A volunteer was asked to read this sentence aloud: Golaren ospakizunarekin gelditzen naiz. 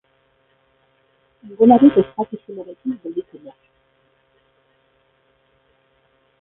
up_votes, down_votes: 0, 2